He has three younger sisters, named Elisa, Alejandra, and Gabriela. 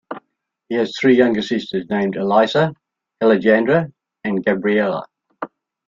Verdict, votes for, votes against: rejected, 0, 2